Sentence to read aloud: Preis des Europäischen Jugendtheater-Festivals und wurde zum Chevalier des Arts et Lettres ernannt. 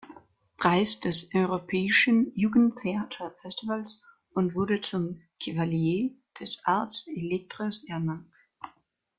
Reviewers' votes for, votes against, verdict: 2, 1, accepted